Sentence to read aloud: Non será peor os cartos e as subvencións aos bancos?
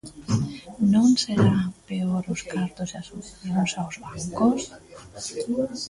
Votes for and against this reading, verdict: 0, 2, rejected